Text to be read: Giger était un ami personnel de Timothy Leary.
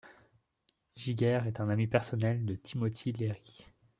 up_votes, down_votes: 0, 2